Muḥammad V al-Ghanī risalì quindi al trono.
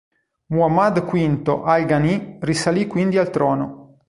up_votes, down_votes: 2, 0